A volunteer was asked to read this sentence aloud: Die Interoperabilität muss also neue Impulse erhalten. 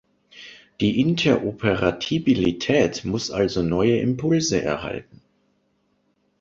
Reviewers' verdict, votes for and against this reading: rejected, 0, 2